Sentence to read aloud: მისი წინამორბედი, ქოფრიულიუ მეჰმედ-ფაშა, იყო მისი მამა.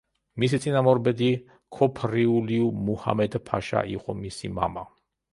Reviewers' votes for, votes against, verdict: 0, 2, rejected